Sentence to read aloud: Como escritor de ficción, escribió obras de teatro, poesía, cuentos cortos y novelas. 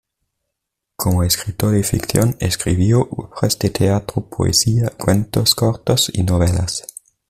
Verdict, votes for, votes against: rejected, 1, 2